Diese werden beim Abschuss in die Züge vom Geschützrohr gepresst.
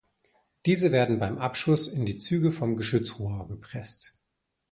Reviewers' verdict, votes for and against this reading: accepted, 2, 0